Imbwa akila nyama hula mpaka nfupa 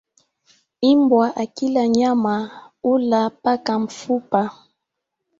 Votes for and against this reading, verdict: 1, 2, rejected